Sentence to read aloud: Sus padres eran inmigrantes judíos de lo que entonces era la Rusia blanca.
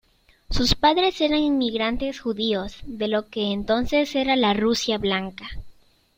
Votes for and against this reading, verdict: 2, 0, accepted